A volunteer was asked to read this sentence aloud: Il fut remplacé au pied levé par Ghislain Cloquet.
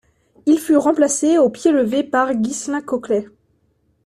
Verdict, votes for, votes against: accepted, 2, 0